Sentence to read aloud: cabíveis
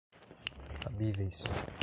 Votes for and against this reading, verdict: 1, 2, rejected